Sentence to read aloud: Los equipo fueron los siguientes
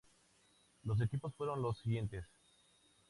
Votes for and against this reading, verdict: 2, 0, accepted